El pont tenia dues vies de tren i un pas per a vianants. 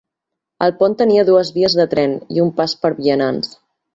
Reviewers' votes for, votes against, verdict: 1, 2, rejected